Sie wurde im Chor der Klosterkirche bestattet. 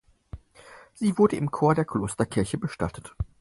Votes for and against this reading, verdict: 4, 0, accepted